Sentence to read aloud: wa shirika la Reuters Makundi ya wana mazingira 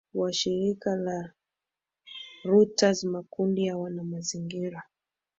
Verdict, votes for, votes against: rejected, 1, 3